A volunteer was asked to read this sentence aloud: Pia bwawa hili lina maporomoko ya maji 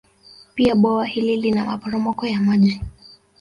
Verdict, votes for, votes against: rejected, 1, 2